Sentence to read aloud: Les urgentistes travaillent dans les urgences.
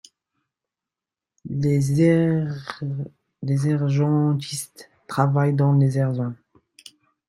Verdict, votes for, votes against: accepted, 2, 0